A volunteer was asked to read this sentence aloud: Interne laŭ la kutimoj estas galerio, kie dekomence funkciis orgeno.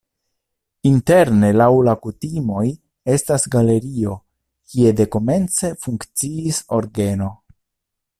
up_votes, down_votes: 2, 0